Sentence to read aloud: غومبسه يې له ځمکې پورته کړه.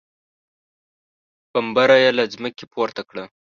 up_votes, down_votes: 0, 2